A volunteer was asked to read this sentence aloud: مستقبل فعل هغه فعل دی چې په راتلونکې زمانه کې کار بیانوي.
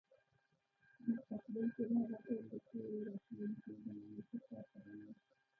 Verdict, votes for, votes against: rejected, 0, 2